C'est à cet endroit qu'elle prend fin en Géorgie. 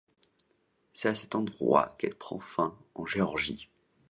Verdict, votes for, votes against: accepted, 2, 0